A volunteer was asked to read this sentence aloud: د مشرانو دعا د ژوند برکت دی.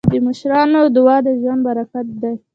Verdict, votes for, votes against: rejected, 1, 2